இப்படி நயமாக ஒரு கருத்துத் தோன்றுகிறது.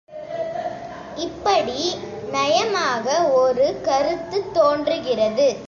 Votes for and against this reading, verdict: 2, 0, accepted